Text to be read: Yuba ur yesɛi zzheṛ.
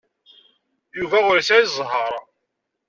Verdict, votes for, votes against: accepted, 2, 0